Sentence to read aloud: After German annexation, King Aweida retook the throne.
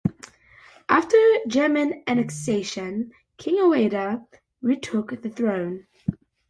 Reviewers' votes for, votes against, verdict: 2, 0, accepted